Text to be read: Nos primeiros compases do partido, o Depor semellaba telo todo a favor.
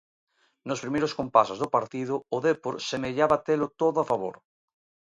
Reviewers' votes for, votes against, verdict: 2, 0, accepted